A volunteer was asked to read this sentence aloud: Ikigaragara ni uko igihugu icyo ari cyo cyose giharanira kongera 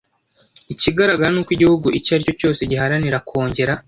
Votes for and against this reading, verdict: 2, 0, accepted